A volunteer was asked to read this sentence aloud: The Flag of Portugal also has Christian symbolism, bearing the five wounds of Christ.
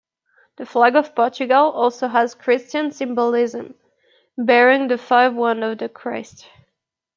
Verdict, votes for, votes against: accepted, 2, 0